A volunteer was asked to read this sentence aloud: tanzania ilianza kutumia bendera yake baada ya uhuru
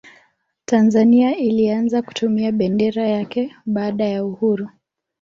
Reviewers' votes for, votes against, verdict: 1, 2, rejected